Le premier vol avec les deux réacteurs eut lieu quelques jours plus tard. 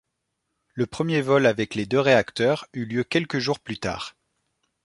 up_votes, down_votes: 2, 0